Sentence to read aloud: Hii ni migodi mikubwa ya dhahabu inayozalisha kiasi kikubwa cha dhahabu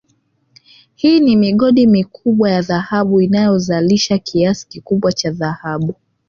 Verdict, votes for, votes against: rejected, 1, 2